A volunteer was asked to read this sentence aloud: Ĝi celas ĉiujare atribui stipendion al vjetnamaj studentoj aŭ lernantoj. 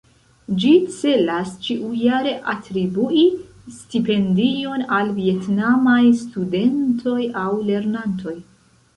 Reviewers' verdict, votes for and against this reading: accepted, 2, 1